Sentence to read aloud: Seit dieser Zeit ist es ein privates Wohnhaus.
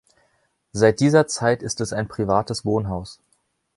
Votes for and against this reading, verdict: 2, 0, accepted